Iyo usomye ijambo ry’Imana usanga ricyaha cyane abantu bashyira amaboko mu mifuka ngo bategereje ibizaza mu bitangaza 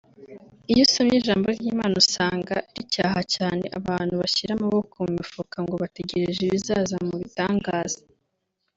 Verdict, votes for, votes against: accepted, 2, 1